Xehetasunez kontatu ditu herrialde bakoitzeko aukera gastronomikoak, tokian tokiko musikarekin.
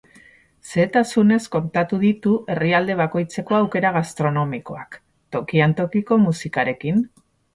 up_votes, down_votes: 2, 2